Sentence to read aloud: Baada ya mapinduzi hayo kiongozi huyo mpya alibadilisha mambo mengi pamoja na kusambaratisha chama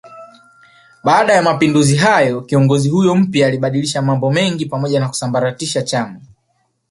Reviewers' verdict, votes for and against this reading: accepted, 3, 1